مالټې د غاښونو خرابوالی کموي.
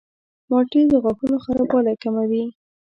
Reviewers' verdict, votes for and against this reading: rejected, 1, 2